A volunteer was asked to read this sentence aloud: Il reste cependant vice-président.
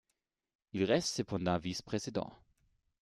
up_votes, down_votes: 2, 0